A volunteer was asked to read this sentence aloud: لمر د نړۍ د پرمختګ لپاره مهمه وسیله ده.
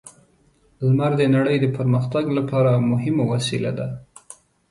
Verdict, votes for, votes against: accepted, 2, 0